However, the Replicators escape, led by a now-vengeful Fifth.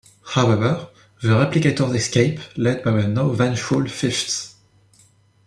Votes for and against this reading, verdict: 1, 2, rejected